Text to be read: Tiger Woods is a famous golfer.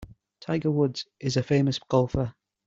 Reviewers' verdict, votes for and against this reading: accepted, 2, 0